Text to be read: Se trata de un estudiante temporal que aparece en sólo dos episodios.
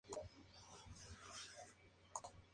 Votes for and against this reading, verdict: 0, 2, rejected